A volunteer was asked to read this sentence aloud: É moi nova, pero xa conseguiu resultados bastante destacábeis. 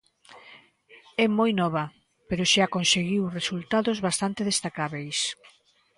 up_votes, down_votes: 2, 0